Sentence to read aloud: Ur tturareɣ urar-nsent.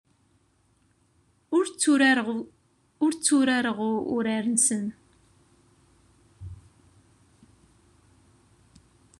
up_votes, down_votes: 0, 2